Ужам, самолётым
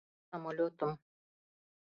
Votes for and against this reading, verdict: 0, 2, rejected